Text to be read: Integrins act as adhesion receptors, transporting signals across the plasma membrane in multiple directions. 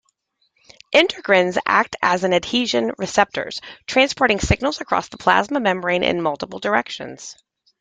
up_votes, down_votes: 2, 0